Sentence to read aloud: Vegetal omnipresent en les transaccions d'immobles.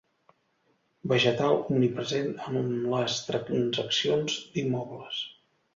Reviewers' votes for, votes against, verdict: 0, 2, rejected